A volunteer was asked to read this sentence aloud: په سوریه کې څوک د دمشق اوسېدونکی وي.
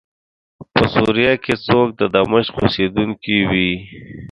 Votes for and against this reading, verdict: 0, 2, rejected